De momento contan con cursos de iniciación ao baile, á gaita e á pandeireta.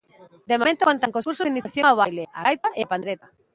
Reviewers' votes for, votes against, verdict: 0, 2, rejected